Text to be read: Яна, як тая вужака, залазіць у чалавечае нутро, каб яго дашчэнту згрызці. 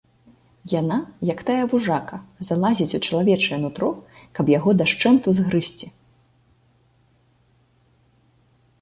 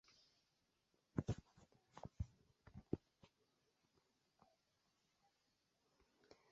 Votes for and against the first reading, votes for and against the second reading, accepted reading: 2, 0, 0, 2, first